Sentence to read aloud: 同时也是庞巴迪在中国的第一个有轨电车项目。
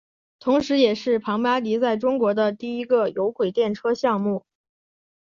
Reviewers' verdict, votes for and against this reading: accepted, 9, 0